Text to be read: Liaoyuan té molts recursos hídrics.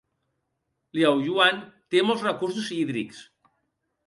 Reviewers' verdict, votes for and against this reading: accepted, 2, 0